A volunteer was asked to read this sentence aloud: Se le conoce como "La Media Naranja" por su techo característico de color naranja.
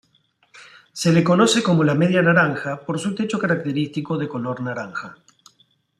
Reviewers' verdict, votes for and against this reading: accepted, 3, 0